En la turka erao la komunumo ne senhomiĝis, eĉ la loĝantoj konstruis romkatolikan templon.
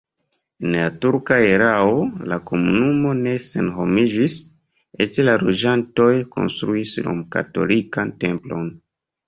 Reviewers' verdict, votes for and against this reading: accepted, 2, 0